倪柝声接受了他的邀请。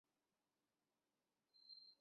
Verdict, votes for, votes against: rejected, 0, 3